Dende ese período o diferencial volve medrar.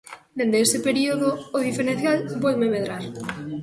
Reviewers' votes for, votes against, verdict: 0, 2, rejected